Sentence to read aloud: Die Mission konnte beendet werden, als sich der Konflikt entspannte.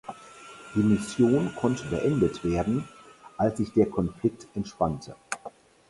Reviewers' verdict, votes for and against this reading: accepted, 4, 0